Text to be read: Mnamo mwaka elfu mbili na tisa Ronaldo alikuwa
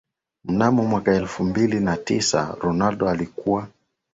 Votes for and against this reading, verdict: 2, 0, accepted